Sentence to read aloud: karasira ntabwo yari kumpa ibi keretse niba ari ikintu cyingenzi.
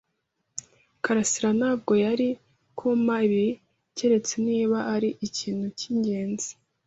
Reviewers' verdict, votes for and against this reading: accepted, 2, 0